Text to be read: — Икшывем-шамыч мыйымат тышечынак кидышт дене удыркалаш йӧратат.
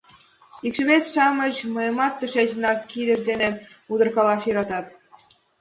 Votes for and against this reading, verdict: 2, 0, accepted